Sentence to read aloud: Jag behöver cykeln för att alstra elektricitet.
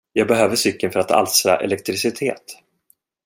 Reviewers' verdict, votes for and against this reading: rejected, 1, 2